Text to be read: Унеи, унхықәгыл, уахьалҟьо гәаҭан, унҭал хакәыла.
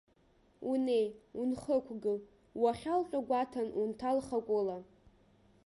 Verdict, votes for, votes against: accepted, 3, 0